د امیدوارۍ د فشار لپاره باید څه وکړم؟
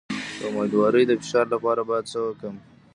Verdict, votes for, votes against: rejected, 1, 2